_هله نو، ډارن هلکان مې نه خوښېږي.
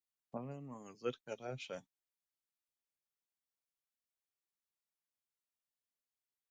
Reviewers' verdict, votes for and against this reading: rejected, 0, 2